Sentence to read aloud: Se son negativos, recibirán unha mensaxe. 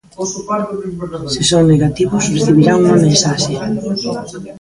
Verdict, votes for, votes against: rejected, 0, 2